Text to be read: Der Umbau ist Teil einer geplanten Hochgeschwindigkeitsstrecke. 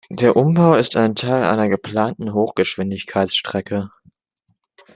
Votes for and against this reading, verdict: 1, 2, rejected